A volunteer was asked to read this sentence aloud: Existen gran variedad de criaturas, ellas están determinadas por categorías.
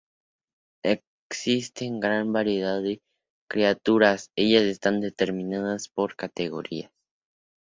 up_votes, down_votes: 2, 0